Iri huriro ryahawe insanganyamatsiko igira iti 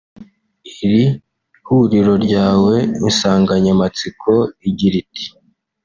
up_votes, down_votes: 1, 2